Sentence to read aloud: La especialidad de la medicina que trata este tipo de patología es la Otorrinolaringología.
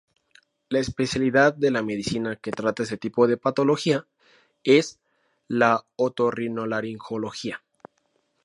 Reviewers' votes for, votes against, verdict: 2, 0, accepted